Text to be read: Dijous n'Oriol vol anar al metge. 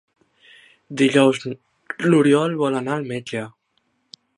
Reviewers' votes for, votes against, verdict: 1, 2, rejected